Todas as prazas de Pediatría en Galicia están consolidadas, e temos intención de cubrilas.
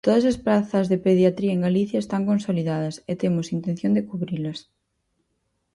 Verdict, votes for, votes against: accepted, 4, 0